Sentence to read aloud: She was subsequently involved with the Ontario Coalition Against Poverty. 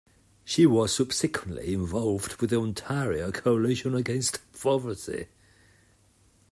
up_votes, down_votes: 1, 2